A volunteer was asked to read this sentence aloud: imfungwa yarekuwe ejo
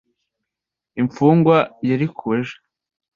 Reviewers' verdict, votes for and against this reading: rejected, 1, 2